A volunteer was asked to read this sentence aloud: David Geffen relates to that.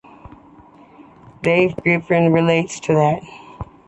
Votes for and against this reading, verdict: 2, 0, accepted